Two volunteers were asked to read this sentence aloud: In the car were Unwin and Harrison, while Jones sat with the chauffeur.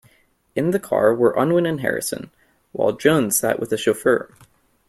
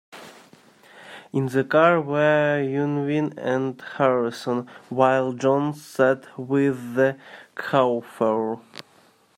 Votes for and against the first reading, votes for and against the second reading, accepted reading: 2, 0, 0, 2, first